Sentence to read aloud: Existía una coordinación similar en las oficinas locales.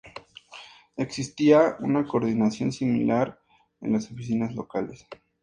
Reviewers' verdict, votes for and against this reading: accepted, 2, 0